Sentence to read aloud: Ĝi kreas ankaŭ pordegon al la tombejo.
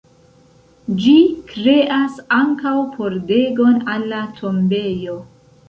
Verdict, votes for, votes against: accepted, 3, 0